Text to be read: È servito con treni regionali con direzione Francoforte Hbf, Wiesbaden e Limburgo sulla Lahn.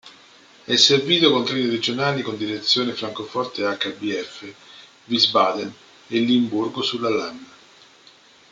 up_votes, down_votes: 0, 2